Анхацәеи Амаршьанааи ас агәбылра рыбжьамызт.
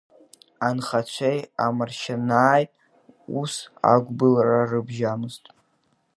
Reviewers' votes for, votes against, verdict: 2, 1, accepted